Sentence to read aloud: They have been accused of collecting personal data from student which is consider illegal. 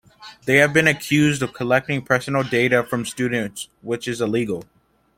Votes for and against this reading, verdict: 1, 2, rejected